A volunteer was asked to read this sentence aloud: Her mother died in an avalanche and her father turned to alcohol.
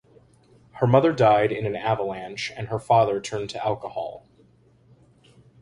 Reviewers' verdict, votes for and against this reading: accepted, 2, 0